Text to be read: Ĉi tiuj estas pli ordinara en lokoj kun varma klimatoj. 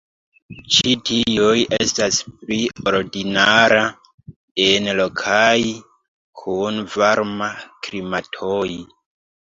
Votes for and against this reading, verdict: 0, 2, rejected